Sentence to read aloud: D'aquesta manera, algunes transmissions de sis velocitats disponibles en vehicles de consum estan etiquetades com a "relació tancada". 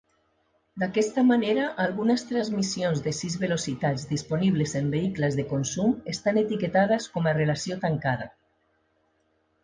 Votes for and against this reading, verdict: 3, 0, accepted